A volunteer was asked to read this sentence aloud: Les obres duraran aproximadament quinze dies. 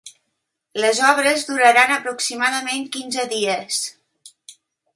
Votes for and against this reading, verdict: 2, 0, accepted